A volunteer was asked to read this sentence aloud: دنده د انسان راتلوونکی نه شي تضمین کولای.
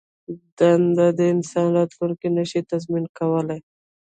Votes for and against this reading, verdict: 0, 2, rejected